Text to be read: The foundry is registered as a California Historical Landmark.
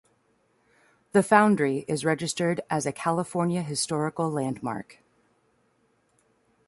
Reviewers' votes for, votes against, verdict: 2, 0, accepted